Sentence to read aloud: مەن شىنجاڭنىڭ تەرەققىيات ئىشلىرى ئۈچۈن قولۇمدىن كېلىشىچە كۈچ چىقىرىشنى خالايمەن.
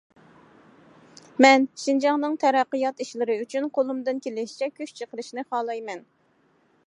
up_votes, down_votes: 2, 0